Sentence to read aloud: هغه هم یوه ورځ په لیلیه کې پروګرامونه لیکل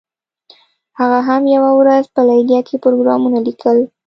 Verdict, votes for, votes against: accepted, 2, 0